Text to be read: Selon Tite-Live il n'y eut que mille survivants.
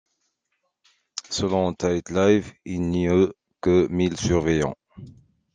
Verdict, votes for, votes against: rejected, 0, 2